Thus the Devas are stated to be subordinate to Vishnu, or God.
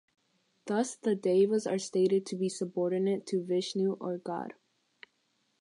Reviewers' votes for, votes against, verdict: 6, 0, accepted